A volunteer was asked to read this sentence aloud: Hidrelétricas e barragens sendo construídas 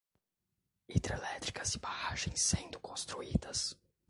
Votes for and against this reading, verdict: 1, 2, rejected